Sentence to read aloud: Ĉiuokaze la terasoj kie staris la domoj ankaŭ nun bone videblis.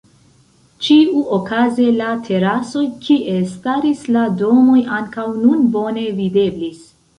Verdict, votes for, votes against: accepted, 2, 1